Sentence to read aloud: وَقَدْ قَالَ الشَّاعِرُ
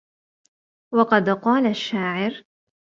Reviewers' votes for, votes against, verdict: 2, 0, accepted